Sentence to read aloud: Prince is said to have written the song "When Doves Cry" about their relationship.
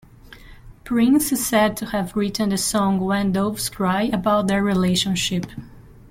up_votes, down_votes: 2, 1